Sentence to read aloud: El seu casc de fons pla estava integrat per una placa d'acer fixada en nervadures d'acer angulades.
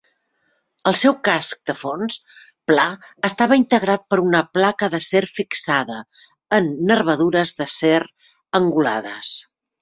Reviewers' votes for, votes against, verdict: 3, 0, accepted